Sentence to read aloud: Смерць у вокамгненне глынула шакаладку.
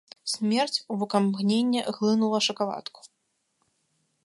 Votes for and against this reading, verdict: 1, 2, rejected